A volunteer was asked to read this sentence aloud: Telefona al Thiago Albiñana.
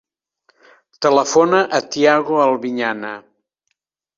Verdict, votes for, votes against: rejected, 1, 2